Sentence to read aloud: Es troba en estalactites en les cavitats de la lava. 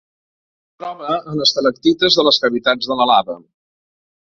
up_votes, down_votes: 1, 3